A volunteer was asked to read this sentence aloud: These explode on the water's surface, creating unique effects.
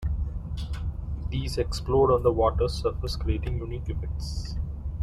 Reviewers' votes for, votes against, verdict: 1, 2, rejected